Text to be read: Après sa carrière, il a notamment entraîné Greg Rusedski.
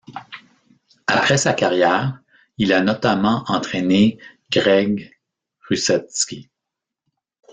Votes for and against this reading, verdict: 1, 2, rejected